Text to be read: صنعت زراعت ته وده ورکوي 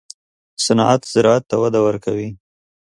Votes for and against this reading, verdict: 2, 0, accepted